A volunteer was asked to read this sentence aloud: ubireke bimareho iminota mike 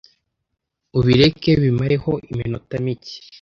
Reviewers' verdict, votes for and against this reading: accepted, 2, 0